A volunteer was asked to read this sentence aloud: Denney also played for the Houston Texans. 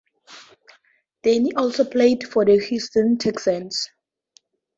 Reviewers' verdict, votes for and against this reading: accepted, 2, 0